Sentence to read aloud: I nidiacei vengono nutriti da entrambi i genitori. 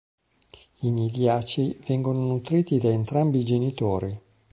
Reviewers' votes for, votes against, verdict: 2, 0, accepted